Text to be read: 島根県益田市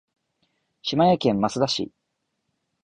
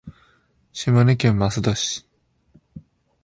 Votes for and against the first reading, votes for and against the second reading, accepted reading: 2, 3, 5, 1, second